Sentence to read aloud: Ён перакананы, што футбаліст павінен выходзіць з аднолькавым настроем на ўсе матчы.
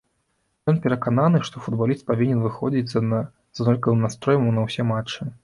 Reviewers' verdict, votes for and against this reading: rejected, 1, 2